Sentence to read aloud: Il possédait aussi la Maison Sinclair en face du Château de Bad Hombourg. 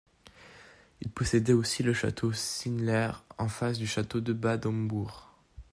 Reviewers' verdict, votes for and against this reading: rejected, 0, 4